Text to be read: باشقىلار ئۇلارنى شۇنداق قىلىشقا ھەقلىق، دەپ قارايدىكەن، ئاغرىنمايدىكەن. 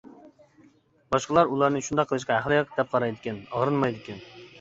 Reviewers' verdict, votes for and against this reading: accepted, 2, 0